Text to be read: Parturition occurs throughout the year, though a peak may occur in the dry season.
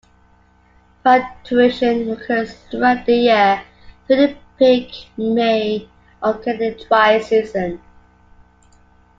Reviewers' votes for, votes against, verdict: 0, 2, rejected